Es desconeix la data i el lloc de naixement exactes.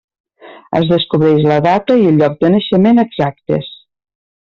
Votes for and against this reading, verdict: 2, 1, accepted